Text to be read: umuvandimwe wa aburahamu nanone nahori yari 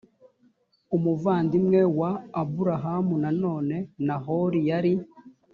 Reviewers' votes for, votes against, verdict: 2, 0, accepted